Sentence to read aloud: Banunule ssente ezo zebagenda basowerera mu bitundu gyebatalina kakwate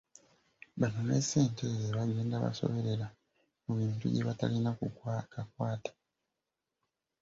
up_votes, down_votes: 1, 2